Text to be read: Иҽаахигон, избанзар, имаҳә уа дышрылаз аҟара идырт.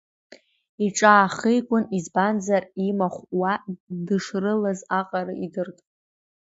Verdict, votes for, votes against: rejected, 0, 2